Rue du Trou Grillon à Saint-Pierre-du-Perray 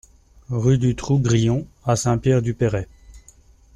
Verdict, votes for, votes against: accepted, 2, 0